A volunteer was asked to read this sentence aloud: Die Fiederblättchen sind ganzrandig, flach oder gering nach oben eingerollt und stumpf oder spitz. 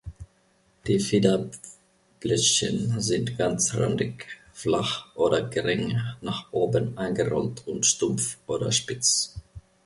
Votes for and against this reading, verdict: 1, 2, rejected